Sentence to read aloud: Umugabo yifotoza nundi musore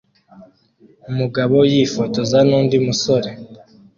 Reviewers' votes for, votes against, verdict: 1, 2, rejected